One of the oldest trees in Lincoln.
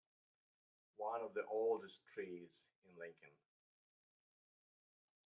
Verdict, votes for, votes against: accepted, 3, 1